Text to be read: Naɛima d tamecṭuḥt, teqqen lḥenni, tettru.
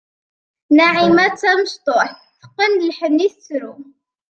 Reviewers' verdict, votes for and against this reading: accepted, 2, 0